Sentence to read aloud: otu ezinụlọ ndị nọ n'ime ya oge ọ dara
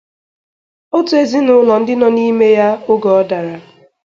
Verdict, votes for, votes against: accepted, 2, 0